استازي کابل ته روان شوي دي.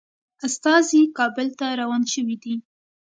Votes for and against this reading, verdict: 2, 0, accepted